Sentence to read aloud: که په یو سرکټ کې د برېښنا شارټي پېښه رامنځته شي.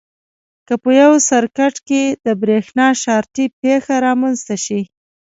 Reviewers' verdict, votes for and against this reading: accepted, 2, 0